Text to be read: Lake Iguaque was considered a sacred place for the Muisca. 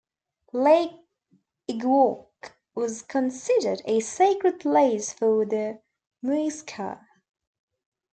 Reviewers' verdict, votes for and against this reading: rejected, 0, 2